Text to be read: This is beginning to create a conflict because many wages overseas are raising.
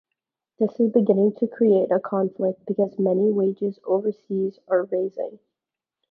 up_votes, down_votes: 2, 0